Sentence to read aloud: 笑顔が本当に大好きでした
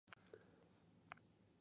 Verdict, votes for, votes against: rejected, 1, 2